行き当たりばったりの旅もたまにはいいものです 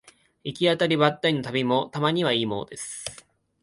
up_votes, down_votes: 2, 0